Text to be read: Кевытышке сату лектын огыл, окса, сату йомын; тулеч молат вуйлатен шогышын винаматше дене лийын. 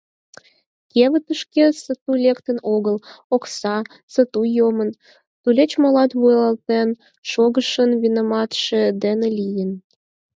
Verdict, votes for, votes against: rejected, 0, 4